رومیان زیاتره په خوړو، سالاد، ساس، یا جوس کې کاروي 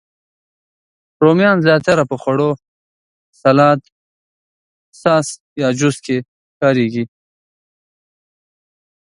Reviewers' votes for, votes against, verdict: 0, 2, rejected